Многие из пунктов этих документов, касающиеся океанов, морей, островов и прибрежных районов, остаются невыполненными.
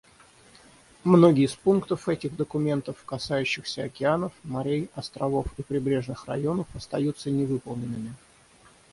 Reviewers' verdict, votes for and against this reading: rejected, 3, 3